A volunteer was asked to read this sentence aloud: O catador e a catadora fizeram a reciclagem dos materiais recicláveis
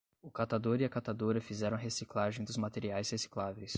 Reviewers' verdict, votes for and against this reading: accepted, 10, 0